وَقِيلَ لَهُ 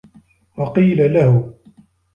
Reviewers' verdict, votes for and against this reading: accepted, 2, 1